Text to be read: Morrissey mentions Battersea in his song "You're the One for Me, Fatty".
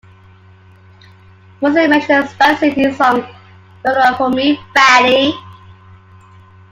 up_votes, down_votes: 0, 2